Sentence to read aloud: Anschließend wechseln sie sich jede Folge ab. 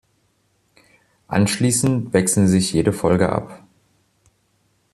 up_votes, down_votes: 1, 2